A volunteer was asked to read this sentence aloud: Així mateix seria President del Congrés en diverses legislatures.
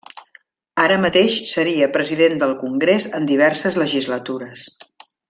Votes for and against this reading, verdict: 0, 2, rejected